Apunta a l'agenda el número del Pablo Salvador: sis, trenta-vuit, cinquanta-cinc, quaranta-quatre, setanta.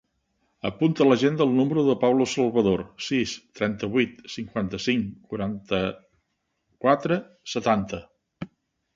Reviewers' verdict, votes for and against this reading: accepted, 3, 0